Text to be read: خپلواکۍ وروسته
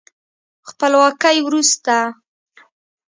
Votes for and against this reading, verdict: 4, 0, accepted